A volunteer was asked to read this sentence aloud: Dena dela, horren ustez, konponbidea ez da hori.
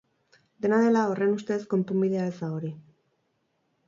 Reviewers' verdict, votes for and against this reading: accepted, 8, 0